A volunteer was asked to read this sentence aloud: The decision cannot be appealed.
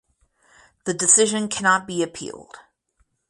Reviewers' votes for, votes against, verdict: 4, 0, accepted